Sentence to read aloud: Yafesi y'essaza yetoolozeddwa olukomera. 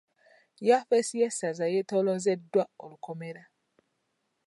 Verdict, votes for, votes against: accepted, 2, 0